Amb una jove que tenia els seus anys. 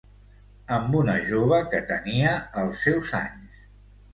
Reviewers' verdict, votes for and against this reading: accepted, 2, 0